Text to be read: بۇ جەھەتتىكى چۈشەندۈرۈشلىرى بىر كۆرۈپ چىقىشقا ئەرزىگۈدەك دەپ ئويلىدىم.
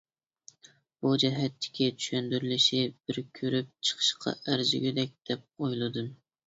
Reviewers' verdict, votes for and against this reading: rejected, 0, 2